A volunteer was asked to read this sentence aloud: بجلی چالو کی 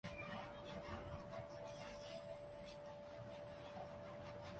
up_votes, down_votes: 1, 2